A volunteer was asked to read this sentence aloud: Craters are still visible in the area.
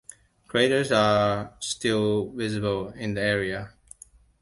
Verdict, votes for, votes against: accepted, 2, 1